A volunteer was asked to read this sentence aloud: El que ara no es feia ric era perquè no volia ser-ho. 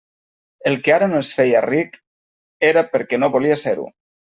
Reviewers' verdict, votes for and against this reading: accepted, 3, 0